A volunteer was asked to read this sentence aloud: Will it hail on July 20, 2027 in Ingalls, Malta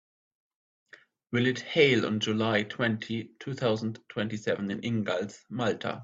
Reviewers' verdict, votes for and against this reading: rejected, 0, 2